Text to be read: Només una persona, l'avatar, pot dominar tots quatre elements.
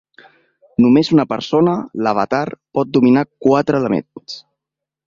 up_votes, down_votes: 0, 2